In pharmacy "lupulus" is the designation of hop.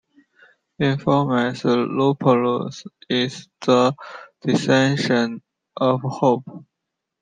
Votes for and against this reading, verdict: 1, 2, rejected